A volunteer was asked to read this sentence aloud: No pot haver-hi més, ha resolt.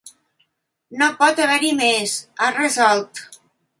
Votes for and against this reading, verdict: 3, 0, accepted